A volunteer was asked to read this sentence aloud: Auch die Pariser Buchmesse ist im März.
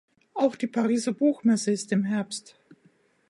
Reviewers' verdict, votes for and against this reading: rejected, 0, 2